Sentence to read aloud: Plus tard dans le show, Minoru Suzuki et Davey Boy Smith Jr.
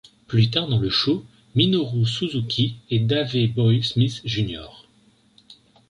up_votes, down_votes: 2, 0